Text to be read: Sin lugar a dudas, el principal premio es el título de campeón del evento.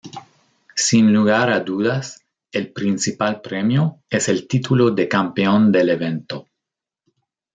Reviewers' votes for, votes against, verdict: 2, 0, accepted